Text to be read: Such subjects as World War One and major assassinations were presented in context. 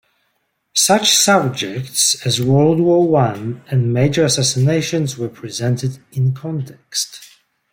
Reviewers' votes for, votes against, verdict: 2, 0, accepted